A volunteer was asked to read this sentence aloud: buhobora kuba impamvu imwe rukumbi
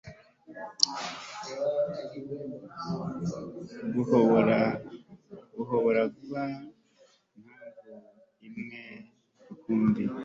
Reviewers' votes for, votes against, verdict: 1, 2, rejected